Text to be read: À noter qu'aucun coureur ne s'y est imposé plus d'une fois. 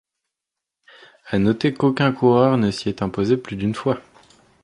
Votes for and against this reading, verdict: 2, 0, accepted